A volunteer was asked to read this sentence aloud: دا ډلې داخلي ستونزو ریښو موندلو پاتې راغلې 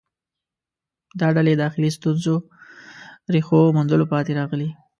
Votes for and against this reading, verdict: 1, 2, rejected